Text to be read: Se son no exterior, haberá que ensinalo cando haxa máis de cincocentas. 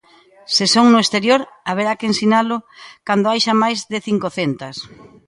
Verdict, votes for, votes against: rejected, 0, 2